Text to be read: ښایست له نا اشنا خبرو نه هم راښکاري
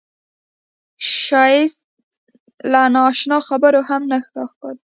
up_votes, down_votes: 1, 2